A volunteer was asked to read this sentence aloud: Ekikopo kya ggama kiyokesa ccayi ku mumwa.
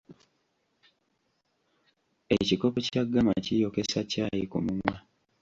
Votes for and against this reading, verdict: 1, 2, rejected